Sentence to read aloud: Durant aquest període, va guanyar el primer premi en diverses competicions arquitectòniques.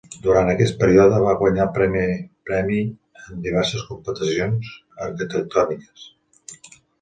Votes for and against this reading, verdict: 1, 2, rejected